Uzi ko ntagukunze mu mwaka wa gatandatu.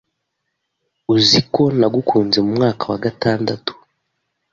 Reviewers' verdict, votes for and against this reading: rejected, 1, 2